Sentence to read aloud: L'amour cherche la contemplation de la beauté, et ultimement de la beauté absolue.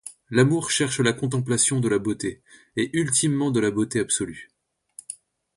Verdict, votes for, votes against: rejected, 1, 2